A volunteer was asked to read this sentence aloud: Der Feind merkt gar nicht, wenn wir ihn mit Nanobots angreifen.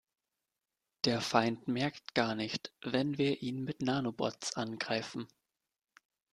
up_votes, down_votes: 3, 0